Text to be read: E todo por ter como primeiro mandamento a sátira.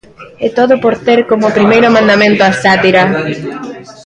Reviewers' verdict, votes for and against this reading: accepted, 3, 0